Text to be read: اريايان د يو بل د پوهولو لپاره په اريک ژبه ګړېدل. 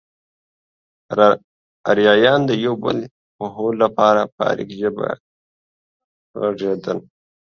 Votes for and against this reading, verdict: 0, 2, rejected